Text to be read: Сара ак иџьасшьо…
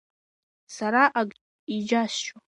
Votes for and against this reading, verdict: 2, 1, accepted